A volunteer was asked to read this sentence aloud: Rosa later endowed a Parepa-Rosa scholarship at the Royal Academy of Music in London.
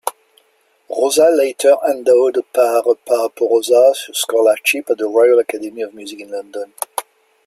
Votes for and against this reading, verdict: 1, 2, rejected